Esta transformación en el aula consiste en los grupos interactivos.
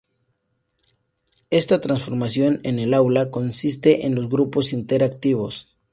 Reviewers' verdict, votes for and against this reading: accepted, 4, 0